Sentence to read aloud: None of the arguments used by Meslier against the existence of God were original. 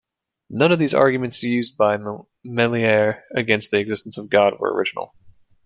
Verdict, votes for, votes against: rejected, 1, 2